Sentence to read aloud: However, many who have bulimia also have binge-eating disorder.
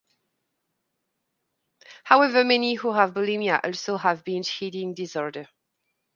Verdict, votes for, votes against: accepted, 2, 0